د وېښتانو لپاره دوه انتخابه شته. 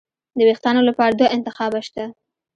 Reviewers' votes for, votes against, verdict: 2, 0, accepted